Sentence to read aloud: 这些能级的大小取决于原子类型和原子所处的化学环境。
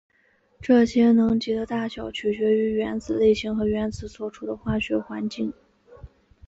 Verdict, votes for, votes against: accepted, 4, 0